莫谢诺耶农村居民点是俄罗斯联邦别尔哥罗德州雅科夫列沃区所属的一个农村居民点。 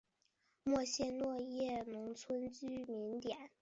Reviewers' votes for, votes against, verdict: 2, 3, rejected